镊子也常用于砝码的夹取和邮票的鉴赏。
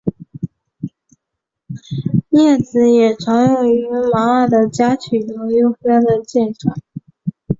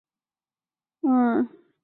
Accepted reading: first